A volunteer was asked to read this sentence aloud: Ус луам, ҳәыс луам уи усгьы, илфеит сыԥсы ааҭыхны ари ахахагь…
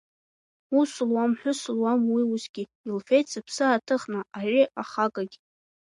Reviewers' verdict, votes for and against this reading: rejected, 0, 2